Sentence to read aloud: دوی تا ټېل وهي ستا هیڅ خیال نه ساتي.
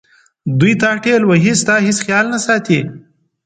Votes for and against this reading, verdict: 2, 0, accepted